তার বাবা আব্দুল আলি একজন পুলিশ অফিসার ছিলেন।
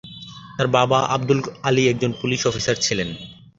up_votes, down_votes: 22, 4